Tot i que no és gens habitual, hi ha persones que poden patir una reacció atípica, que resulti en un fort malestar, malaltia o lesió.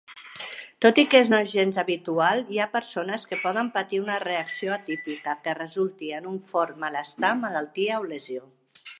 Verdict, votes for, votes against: rejected, 1, 2